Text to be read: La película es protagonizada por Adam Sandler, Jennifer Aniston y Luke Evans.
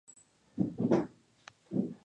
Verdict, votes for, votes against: rejected, 0, 2